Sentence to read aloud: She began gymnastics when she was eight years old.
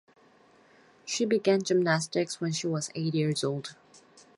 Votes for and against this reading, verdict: 4, 0, accepted